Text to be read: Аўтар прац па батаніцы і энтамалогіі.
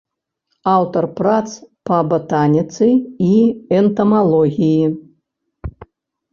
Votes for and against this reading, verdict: 2, 0, accepted